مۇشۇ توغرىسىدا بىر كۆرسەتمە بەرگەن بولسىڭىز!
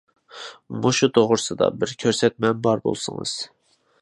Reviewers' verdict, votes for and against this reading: rejected, 0, 2